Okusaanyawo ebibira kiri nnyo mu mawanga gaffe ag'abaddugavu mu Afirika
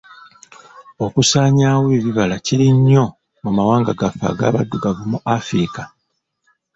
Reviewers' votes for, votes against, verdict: 0, 2, rejected